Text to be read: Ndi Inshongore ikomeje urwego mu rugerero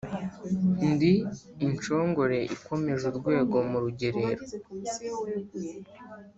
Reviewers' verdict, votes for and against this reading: accepted, 2, 0